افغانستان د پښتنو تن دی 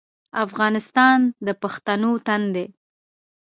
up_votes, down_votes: 2, 0